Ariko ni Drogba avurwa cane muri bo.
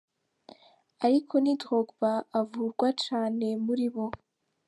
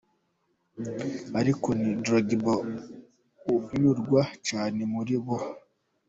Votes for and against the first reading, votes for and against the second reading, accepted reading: 4, 0, 0, 2, first